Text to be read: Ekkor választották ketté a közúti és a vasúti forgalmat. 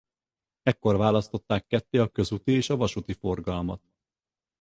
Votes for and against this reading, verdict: 4, 0, accepted